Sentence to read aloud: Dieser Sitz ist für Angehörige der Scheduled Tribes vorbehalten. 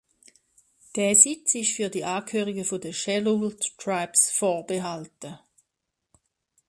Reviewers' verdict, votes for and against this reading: rejected, 0, 2